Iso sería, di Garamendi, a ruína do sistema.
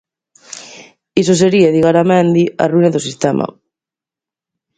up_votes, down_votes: 2, 0